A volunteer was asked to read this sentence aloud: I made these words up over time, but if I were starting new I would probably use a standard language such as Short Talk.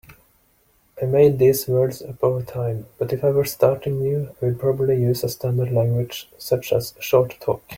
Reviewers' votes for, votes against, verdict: 2, 0, accepted